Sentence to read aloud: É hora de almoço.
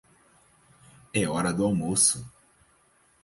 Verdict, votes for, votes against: rejected, 0, 4